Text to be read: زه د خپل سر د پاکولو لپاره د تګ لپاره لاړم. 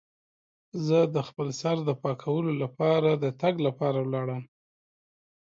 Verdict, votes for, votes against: accepted, 2, 0